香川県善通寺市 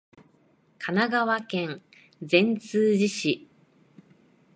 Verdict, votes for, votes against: rejected, 1, 2